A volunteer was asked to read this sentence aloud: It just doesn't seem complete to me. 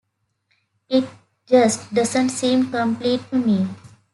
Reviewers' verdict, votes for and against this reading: accepted, 2, 0